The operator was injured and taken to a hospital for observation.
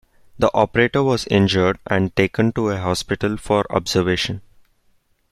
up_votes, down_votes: 2, 0